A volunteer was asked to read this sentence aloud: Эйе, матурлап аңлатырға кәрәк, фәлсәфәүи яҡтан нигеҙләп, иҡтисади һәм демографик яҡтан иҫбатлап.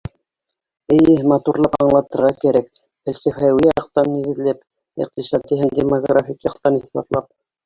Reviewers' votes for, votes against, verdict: 0, 2, rejected